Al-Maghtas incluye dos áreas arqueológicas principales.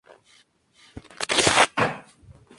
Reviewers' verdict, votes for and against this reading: rejected, 0, 4